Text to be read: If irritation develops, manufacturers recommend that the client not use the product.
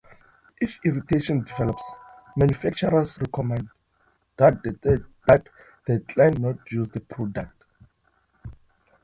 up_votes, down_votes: 0, 2